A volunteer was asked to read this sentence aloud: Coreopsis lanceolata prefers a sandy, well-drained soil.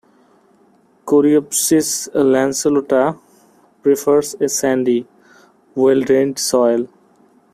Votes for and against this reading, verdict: 1, 2, rejected